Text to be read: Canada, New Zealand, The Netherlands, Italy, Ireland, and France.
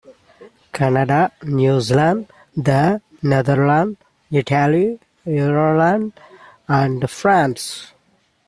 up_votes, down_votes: 0, 2